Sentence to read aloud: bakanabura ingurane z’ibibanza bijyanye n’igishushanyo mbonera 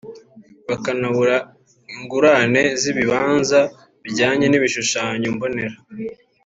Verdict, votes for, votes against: rejected, 1, 3